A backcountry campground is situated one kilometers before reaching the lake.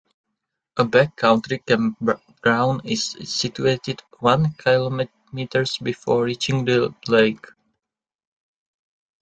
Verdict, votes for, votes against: rejected, 0, 2